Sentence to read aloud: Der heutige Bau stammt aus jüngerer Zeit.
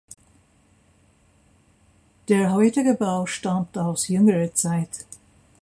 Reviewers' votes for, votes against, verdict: 2, 1, accepted